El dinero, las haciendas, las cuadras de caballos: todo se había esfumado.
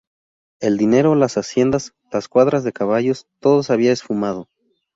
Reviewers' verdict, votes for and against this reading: rejected, 0, 2